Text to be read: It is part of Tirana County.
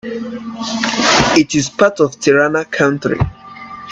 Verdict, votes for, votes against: rejected, 0, 2